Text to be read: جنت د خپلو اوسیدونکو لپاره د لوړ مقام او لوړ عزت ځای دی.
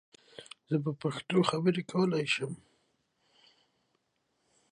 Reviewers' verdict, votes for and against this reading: rejected, 1, 2